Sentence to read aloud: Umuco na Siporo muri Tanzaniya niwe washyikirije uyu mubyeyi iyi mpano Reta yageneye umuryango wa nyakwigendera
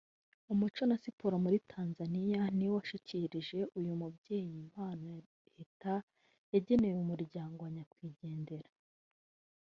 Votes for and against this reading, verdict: 1, 2, rejected